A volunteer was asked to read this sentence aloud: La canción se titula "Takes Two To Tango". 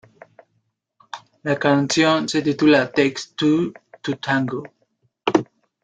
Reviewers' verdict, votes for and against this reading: accepted, 2, 0